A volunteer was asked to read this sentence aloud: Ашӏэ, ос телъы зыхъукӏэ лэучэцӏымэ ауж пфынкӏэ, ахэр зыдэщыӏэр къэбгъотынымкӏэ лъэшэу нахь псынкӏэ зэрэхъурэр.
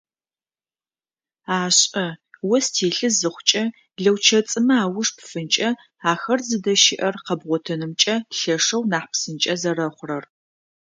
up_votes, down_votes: 2, 0